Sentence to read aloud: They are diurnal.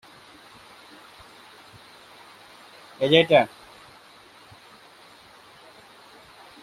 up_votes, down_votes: 0, 2